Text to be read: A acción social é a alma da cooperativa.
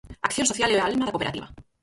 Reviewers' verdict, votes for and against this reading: rejected, 2, 4